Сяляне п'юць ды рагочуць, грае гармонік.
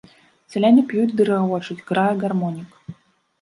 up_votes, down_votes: 1, 2